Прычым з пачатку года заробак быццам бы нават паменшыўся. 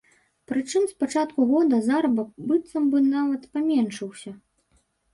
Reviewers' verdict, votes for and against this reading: rejected, 1, 2